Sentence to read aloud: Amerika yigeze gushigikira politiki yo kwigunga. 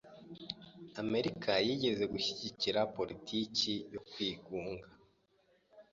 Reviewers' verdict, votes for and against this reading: accepted, 2, 0